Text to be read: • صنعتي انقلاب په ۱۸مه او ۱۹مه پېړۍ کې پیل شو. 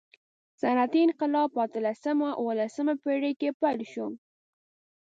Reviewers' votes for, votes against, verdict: 0, 2, rejected